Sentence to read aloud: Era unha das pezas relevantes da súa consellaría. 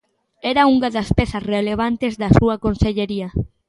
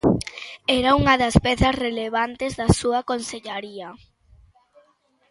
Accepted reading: second